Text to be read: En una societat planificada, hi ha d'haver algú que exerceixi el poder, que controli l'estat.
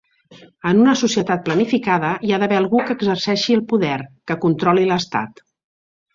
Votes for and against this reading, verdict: 3, 0, accepted